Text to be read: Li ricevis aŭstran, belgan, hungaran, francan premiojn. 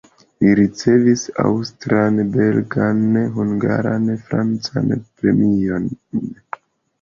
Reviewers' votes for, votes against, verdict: 0, 2, rejected